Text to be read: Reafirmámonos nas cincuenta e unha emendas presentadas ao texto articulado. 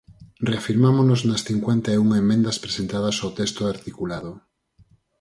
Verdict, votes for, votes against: accepted, 4, 0